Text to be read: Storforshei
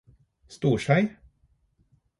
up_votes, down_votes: 0, 4